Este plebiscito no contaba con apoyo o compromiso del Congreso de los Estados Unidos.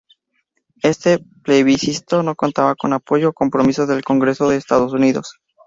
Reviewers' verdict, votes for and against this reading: accepted, 2, 0